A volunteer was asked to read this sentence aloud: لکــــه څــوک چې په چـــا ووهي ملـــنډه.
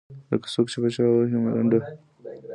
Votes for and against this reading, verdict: 1, 2, rejected